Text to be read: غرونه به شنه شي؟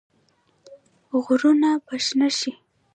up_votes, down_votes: 1, 2